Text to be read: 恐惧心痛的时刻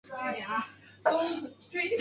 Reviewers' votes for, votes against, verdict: 0, 2, rejected